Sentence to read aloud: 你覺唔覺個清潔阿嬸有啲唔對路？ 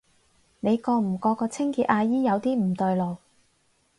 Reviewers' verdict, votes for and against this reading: rejected, 0, 4